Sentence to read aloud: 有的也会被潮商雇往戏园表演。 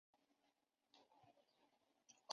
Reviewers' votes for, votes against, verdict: 0, 3, rejected